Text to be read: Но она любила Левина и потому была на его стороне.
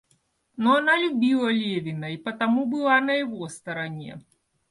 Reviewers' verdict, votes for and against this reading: accepted, 2, 0